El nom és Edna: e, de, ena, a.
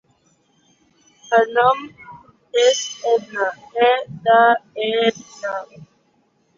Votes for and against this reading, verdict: 0, 3, rejected